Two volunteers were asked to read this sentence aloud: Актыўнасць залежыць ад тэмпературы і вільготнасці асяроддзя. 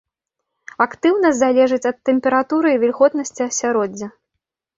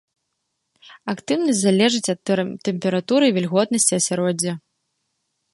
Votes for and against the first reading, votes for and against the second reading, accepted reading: 2, 0, 0, 2, first